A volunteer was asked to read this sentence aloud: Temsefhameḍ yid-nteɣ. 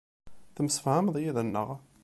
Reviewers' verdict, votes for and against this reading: rejected, 1, 2